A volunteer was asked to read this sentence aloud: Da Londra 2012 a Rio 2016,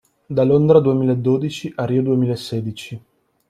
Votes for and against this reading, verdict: 0, 2, rejected